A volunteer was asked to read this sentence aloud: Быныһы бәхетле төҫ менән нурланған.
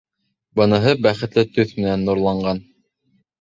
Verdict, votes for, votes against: accepted, 2, 0